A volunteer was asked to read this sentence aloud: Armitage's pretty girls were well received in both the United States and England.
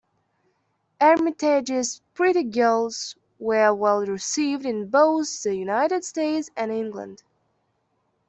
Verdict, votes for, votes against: accepted, 2, 0